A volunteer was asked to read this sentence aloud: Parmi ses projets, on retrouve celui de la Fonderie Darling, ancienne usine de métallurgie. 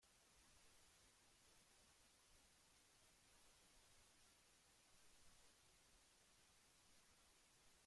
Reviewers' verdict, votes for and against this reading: rejected, 0, 2